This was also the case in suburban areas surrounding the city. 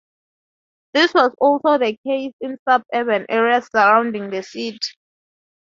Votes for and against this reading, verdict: 0, 2, rejected